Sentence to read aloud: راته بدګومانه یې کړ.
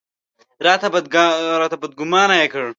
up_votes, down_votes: 1, 2